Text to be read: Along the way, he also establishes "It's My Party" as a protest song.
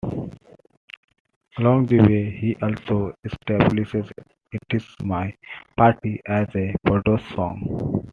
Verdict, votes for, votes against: rejected, 0, 2